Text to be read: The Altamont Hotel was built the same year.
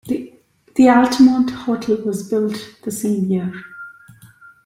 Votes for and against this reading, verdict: 0, 2, rejected